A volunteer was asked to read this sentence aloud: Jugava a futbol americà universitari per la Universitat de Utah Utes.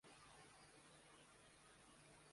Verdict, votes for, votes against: rejected, 0, 2